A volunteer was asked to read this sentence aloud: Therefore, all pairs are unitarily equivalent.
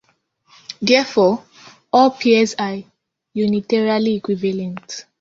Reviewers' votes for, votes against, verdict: 3, 1, accepted